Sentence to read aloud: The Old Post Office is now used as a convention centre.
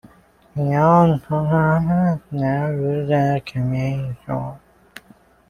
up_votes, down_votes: 0, 2